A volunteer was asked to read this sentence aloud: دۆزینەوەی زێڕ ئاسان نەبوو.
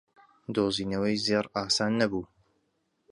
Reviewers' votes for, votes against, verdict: 2, 0, accepted